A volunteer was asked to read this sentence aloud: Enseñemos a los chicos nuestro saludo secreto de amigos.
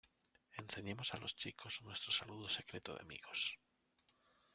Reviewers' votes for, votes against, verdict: 1, 2, rejected